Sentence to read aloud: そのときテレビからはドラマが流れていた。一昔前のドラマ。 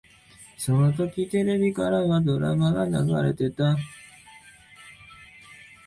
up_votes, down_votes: 0, 2